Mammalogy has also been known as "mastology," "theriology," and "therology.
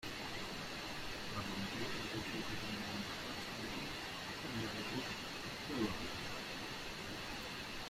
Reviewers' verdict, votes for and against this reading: rejected, 0, 2